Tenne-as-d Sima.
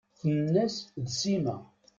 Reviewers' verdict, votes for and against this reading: rejected, 1, 2